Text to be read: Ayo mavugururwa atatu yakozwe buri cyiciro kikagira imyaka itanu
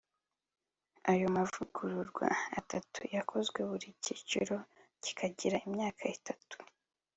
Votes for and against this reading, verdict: 1, 2, rejected